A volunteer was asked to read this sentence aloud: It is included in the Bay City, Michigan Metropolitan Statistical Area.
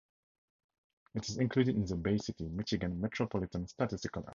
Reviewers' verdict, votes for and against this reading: accepted, 2, 0